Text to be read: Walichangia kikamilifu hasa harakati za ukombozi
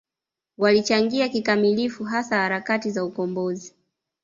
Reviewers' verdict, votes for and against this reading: accepted, 2, 0